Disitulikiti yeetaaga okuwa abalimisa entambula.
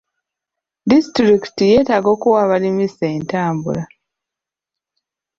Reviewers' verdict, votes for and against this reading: accepted, 2, 0